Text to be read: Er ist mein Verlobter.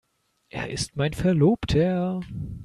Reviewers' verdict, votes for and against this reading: accepted, 2, 1